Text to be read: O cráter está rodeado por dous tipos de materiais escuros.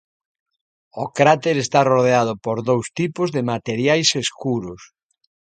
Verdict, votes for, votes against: rejected, 0, 2